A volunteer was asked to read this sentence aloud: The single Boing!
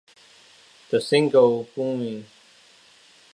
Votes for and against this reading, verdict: 2, 0, accepted